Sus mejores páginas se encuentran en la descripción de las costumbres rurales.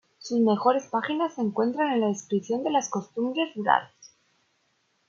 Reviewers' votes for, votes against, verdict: 2, 1, accepted